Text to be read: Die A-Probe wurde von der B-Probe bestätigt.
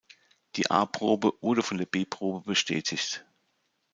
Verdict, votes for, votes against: accepted, 2, 0